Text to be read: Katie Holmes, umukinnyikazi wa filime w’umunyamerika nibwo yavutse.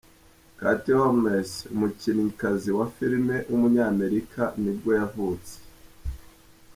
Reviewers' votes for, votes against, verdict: 1, 3, rejected